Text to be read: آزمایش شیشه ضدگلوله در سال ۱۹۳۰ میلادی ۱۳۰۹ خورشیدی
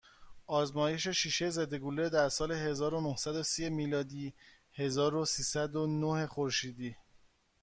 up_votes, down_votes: 0, 2